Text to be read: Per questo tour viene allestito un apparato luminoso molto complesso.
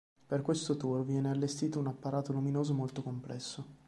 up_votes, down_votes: 2, 0